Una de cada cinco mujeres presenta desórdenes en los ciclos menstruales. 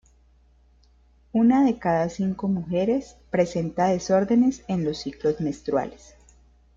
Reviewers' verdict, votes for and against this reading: accepted, 2, 0